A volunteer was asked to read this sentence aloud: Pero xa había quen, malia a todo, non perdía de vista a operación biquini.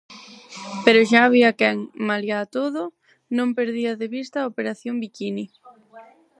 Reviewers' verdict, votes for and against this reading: rejected, 2, 2